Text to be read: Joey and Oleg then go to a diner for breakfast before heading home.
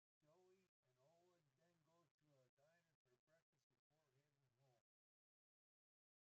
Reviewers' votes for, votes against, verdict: 0, 2, rejected